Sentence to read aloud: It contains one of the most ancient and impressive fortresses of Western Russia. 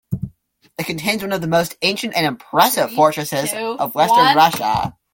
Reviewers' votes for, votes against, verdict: 0, 2, rejected